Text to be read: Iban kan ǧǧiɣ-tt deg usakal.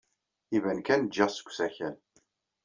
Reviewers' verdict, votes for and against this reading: accepted, 2, 0